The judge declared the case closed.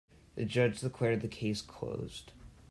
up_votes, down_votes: 2, 0